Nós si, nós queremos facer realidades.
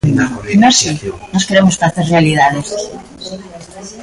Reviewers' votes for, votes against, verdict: 0, 2, rejected